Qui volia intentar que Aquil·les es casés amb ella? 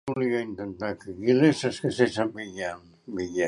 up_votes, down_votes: 0, 2